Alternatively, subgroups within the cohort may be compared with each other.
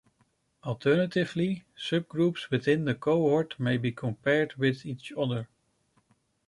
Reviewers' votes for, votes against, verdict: 2, 0, accepted